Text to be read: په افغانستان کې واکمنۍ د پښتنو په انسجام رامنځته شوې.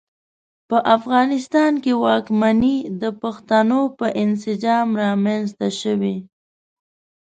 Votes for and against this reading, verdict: 2, 0, accepted